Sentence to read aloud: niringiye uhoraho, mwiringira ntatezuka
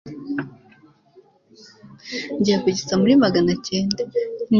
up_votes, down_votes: 1, 2